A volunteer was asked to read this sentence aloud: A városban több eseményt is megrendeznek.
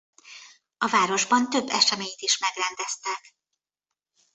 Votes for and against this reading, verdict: 0, 2, rejected